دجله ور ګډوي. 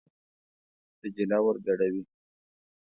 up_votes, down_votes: 2, 0